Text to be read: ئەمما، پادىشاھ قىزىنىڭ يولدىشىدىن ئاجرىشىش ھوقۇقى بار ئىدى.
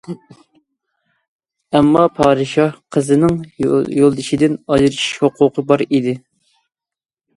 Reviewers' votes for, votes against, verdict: 0, 2, rejected